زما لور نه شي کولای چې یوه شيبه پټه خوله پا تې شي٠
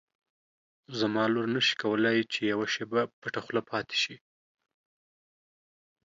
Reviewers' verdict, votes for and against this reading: rejected, 0, 2